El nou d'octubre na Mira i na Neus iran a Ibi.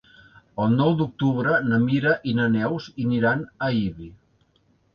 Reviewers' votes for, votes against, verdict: 1, 2, rejected